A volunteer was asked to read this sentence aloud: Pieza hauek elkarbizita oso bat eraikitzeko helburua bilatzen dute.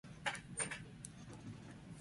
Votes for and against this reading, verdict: 0, 4, rejected